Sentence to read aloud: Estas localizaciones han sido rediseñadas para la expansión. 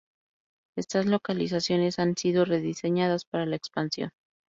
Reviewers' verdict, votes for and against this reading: accepted, 2, 0